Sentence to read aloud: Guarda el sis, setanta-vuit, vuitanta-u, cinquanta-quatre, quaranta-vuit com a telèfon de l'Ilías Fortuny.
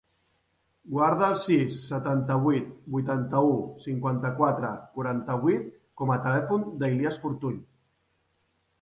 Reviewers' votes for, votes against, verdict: 0, 2, rejected